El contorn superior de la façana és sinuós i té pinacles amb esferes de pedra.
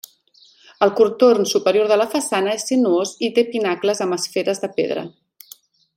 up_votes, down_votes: 1, 2